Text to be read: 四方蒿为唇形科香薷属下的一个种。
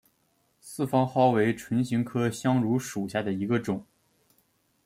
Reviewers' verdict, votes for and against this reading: accepted, 2, 1